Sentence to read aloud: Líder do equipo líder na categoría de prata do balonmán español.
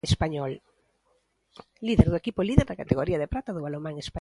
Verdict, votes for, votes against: rejected, 0, 2